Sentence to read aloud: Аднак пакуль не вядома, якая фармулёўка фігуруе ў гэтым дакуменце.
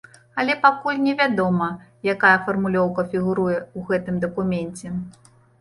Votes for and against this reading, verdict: 1, 2, rejected